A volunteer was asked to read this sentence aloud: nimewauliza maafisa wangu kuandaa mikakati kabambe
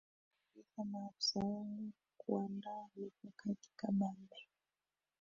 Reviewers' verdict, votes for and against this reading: rejected, 1, 2